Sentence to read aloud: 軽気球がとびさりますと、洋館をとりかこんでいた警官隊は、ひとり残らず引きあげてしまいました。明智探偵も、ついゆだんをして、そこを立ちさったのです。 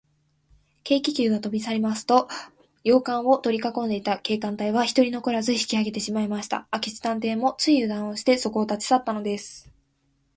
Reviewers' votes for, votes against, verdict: 2, 0, accepted